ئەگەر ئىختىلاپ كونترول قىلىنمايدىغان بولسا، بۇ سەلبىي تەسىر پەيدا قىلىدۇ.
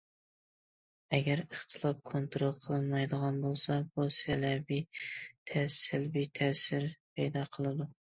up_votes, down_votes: 0, 2